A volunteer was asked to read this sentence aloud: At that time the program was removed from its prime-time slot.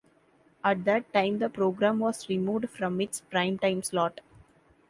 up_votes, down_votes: 2, 0